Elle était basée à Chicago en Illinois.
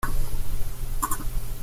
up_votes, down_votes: 0, 2